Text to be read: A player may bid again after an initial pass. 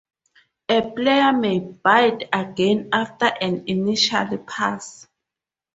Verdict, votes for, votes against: rejected, 0, 4